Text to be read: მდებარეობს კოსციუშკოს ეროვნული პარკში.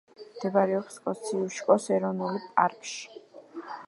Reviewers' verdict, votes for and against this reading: rejected, 1, 2